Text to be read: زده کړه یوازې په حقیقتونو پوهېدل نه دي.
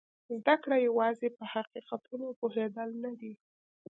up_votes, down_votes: 2, 0